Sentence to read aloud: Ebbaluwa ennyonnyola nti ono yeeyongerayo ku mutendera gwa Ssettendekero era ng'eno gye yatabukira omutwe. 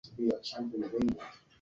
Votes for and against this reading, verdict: 0, 2, rejected